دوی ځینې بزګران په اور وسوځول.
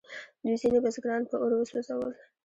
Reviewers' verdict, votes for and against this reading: accepted, 2, 0